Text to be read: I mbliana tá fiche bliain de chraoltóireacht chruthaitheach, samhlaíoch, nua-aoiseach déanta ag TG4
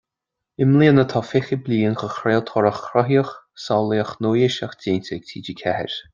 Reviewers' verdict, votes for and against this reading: rejected, 0, 2